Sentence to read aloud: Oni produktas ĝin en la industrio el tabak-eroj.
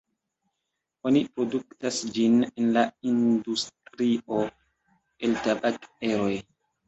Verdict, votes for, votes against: accepted, 2, 1